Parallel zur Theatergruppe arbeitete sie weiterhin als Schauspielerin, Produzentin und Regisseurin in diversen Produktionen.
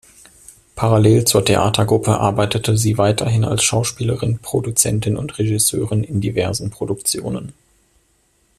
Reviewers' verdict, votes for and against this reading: accepted, 2, 0